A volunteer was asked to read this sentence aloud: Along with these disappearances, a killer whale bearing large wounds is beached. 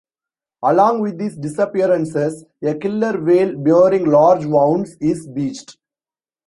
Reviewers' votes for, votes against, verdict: 1, 2, rejected